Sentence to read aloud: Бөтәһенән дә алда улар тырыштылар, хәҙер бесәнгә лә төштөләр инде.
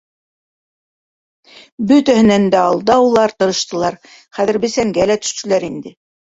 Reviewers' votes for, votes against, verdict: 1, 2, rejected